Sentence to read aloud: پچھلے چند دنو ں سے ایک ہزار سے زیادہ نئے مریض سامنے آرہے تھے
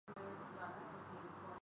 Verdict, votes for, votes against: rejected, 0, 2